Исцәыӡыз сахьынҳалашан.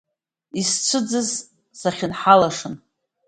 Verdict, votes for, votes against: accepted, 2, 0